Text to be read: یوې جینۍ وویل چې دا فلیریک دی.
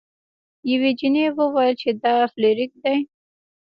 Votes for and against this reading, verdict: 1, 2, rejected